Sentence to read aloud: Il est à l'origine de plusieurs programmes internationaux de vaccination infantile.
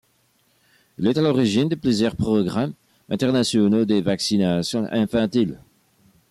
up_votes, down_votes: 2, 0